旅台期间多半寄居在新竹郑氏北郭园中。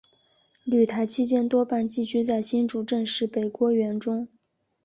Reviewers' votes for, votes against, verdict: 2, 1, accepted